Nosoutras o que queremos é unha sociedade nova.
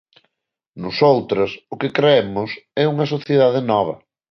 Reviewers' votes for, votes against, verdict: 1, 2, rejected